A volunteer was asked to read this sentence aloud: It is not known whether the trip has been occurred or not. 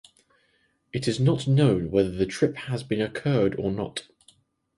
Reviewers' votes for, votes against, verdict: 4, 0, accepted